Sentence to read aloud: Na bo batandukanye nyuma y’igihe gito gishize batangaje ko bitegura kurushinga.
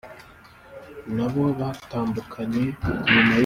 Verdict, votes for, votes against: rejected, 0, 2